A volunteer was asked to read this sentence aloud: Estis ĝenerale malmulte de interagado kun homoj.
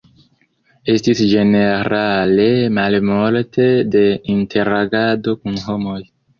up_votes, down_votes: 2, 0